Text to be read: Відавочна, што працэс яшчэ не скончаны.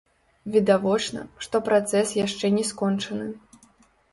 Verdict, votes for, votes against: rejected, 1, 2